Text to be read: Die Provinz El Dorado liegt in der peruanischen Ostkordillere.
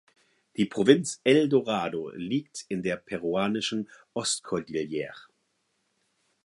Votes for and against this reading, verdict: 4, 0, accepted